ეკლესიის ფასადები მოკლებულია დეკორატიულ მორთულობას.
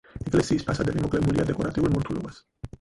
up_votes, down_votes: 0, 4